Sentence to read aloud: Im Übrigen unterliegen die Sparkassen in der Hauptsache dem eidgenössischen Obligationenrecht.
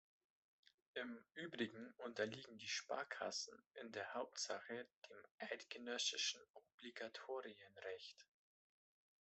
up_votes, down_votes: 0, 2